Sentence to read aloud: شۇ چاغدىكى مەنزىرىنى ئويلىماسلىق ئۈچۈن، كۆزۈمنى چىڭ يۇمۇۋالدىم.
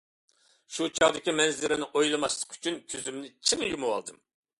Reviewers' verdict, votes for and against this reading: accepted, 2, 0